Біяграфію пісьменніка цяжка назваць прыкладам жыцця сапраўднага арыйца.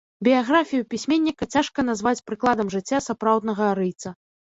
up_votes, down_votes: 0, 2